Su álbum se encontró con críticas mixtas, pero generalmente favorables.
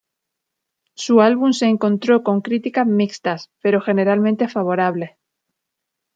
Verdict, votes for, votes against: rejected, 1, 2